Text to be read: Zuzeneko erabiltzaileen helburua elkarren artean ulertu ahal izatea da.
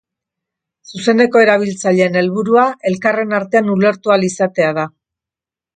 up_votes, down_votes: 2, 0